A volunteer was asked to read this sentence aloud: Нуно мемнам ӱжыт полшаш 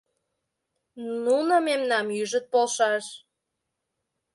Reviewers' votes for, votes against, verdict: 2, 0, accepted